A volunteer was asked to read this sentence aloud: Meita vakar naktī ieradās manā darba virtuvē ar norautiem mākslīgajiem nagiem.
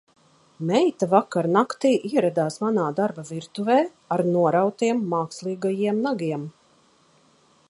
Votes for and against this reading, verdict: 2, 0, accepted